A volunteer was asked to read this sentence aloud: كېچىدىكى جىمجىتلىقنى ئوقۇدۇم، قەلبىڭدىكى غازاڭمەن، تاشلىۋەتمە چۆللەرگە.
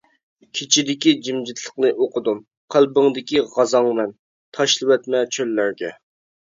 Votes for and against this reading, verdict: 2, 0, accepted